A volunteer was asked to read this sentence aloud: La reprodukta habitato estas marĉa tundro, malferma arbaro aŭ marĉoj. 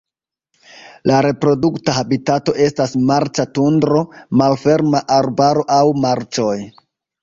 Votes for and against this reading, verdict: 2, 1, accepted